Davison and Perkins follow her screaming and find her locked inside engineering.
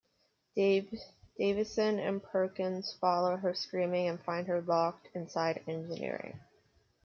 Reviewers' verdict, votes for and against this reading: accepted, 2, 1